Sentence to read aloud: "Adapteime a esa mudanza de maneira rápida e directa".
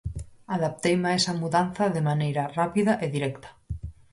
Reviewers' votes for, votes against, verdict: 4, 0, accepted